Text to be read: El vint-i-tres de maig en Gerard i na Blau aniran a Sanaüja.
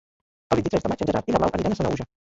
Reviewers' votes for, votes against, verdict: 0, 2, rejected